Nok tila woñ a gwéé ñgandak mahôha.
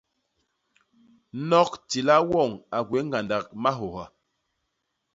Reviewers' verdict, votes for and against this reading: accepted, 2, 0